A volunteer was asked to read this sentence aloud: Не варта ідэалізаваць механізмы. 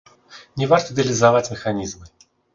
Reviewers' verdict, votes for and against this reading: rejected, 0, 4